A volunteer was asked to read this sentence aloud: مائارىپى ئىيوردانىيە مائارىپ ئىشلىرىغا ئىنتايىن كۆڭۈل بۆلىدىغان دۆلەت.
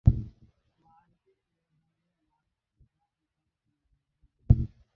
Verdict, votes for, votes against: rejected, 0, 2